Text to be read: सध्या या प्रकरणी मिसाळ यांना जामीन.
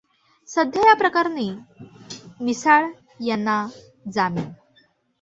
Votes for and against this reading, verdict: 2, 1, accepted